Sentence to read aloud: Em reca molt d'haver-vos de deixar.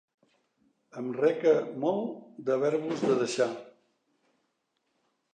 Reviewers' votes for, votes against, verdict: 2, 0, accepted